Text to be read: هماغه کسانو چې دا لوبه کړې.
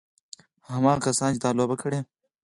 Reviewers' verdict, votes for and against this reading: accepted, 4, 0